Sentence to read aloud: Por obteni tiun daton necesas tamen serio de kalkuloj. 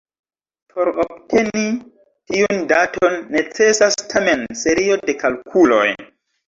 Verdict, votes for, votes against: accepted, 2, 0